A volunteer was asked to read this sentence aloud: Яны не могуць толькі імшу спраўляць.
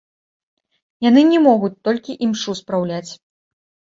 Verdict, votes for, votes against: accepted, 2, 1